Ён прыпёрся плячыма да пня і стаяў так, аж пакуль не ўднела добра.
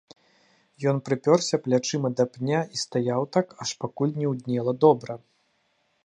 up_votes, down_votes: 1, 2